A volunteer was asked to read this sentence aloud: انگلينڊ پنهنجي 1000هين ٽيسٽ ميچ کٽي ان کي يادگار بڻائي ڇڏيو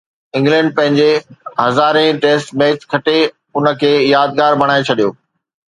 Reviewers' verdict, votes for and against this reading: rejected, 0, 2